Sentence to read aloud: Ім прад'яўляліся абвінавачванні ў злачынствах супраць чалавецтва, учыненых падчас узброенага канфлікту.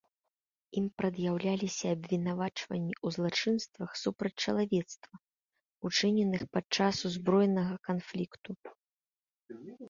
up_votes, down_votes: 2, 1